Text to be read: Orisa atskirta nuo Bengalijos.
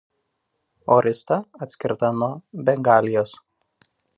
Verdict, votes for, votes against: accepted, 2, 1